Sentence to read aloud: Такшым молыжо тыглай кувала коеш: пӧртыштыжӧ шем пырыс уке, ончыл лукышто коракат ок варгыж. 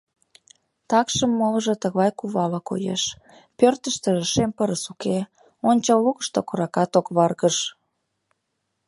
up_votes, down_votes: 2, 0